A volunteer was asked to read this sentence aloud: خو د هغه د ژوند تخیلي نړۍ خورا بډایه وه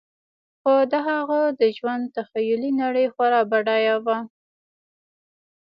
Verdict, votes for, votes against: accepted, 2, 0